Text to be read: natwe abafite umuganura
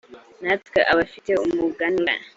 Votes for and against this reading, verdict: 0, 2, rejected